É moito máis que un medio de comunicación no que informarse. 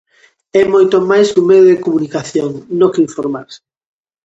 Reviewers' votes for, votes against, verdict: 2, 0, accepted